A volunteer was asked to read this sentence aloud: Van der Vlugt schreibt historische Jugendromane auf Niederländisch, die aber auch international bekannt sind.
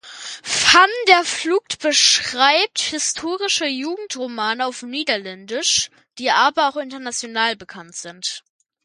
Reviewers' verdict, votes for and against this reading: rejected, 0, 2